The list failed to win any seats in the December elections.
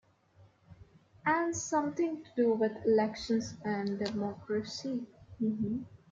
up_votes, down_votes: 0, 2